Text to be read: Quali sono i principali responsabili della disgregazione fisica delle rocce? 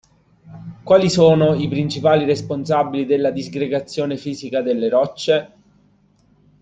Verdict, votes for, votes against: accepted, 2, 0